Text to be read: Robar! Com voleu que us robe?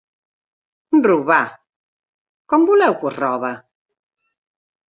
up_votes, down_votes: 1, 2